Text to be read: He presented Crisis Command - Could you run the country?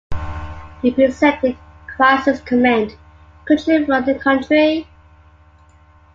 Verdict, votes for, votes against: accepted, 2, 1